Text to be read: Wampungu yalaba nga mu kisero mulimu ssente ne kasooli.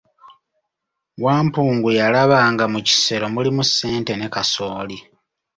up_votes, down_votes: 2, 0